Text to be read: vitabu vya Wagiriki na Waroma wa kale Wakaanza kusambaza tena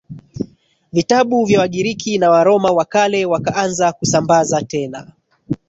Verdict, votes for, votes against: rejected, 1, 2